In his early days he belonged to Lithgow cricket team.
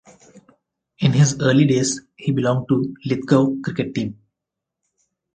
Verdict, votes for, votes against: rejected, 0, 4